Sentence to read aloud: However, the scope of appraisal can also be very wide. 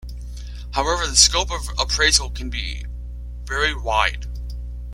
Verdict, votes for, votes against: rejected, 1, 2